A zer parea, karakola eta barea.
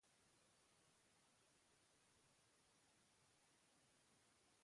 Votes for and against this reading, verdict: 0, 2, rejected